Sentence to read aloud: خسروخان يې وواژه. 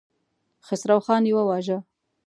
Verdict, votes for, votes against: accepted, 2, 0